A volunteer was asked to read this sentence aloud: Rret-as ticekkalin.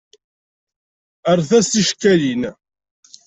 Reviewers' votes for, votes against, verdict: 2, 0, accepted